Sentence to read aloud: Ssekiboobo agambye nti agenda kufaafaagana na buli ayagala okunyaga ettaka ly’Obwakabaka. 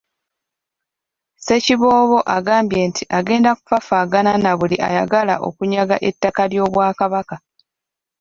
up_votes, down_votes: 2, 0